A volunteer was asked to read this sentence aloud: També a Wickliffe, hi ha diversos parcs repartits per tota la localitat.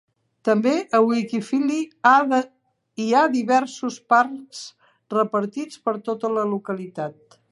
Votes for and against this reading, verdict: 1, 2, rejected